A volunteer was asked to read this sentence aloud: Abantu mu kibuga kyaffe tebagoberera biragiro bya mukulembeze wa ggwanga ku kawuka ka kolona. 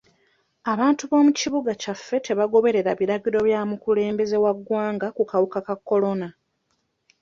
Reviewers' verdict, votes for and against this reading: rejected, 0, 2